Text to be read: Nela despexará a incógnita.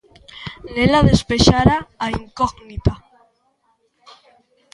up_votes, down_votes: 0, 3